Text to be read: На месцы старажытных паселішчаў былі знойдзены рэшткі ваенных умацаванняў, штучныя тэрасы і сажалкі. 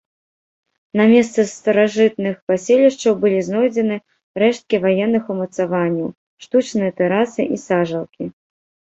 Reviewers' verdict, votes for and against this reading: accepted, 2, 0